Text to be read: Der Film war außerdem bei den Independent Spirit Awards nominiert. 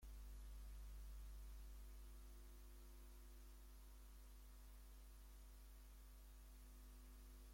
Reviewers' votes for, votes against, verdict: 0, 2, rejected